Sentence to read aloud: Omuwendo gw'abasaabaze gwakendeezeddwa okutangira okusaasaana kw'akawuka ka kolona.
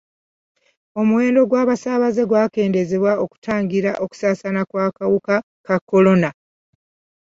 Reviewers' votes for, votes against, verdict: 2, 0, accepted